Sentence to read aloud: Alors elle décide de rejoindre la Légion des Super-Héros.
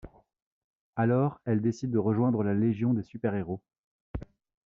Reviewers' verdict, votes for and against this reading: accepted, 2, 0